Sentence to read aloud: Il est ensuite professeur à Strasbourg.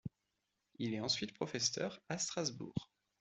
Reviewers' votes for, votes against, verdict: 1, 2, rejected